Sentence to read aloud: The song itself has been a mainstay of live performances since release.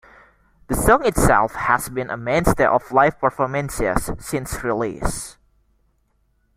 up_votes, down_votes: 2, 0